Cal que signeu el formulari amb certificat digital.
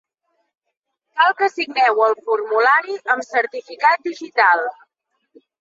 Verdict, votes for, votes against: accepted, 2, 0